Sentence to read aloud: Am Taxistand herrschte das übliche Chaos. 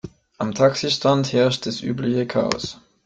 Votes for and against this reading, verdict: 0, 2, rejected